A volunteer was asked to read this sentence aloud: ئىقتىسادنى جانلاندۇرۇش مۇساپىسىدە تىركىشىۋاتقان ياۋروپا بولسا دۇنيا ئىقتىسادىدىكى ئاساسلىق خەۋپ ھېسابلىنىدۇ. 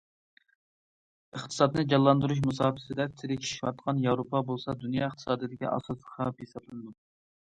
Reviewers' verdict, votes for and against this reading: accepted, 2, 0